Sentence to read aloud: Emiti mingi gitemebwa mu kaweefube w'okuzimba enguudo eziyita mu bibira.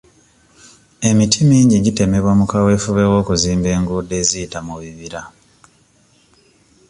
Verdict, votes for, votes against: accepted, 2, 0